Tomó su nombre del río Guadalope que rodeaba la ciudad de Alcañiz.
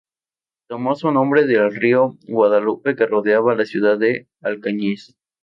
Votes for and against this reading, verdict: 2, 0, accepted